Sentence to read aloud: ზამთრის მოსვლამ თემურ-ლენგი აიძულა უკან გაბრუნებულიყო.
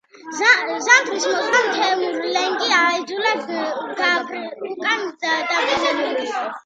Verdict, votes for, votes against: rejected, 1, 2